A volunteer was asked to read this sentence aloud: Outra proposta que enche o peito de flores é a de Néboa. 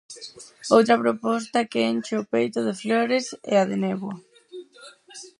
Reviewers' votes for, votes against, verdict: 2, 4, rejected